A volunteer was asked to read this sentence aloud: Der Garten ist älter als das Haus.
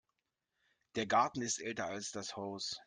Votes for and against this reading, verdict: 2, 0, accepted